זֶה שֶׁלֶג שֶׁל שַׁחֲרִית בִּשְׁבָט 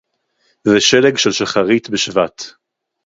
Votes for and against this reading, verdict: 0, 2, rejected